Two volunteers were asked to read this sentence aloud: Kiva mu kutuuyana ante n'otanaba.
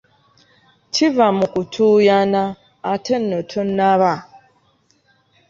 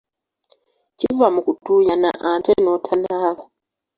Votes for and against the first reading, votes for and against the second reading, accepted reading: 2, 1, 0, 2, first